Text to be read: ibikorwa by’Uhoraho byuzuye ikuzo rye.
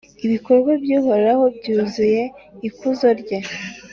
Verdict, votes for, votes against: accepted, 2, 0